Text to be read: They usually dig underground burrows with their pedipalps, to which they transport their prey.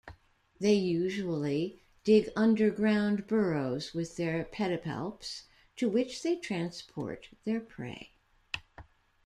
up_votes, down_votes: 3, 0